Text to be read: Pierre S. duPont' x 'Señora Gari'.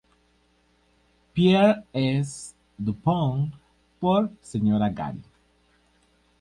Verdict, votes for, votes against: rejected, 0, 2